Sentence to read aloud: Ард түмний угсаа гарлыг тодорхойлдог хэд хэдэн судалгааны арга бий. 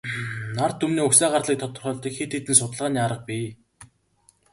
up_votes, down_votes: 4, 0